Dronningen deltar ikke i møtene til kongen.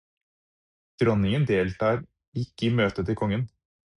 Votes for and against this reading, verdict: 0, 4, rejected